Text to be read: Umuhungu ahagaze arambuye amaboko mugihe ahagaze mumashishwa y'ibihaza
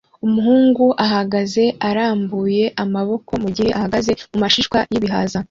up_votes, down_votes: 2, 0